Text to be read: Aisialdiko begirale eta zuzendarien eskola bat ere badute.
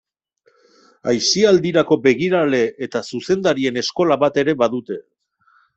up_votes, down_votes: 2, 1